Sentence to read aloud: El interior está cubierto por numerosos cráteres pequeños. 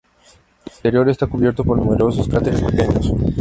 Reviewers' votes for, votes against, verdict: 2, 0, accepted